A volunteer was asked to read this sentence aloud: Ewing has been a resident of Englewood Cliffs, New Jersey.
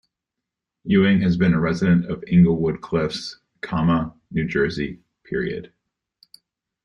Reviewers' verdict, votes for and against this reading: rejected, 1, 2